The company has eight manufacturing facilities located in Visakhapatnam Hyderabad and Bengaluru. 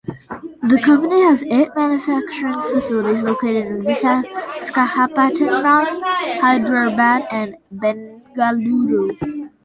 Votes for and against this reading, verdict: 0, 2, rejected